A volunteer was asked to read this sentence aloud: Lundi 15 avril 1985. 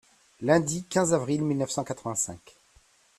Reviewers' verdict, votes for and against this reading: rejected, 0, 2